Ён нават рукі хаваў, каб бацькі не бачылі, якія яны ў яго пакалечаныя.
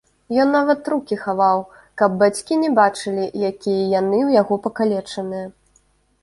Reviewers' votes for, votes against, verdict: 2, 0, accepted